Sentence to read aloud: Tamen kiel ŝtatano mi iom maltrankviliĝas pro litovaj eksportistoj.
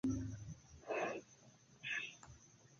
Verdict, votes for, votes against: accepted, 2, 1